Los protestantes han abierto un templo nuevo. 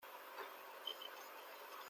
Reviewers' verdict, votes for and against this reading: rejected, 0, 2